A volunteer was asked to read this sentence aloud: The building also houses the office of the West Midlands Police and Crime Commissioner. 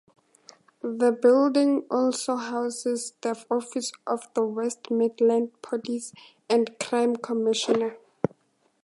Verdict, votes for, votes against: accepted, 4, 2